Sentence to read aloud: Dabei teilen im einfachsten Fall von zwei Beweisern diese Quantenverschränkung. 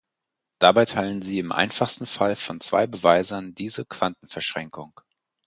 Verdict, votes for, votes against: rejected, 2, 4